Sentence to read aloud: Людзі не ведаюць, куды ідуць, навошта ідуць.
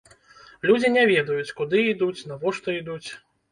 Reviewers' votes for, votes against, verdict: 2, 0, accepted